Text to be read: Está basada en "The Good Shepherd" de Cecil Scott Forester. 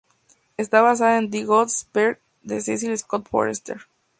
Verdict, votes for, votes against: rejected, 2, 2